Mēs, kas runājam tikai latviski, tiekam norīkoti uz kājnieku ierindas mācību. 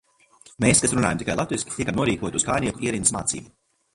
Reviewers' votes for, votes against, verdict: 1, 2, rejected